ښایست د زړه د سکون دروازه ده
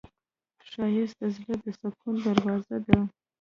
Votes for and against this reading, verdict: 0, 2, rejected